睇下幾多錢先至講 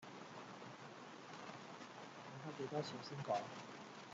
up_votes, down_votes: 1, 2